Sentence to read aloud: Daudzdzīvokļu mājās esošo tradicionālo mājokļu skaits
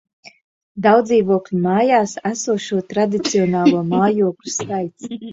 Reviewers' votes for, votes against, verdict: 0, 2, rejected